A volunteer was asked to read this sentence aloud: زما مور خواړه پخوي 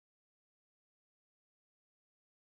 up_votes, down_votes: 1, 2